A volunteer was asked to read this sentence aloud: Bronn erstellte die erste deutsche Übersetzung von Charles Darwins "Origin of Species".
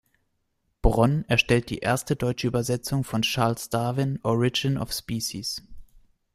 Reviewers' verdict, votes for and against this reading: rejected, 1, 2